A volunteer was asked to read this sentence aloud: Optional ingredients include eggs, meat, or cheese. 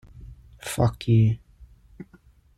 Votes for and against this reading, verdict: 0, 2, rejected